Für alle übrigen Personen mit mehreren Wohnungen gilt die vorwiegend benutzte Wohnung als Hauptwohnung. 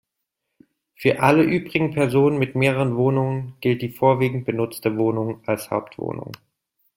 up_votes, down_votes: 2, 0